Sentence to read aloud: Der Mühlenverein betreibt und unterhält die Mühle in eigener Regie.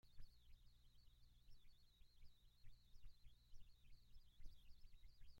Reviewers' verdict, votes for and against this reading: rejected, 0, 3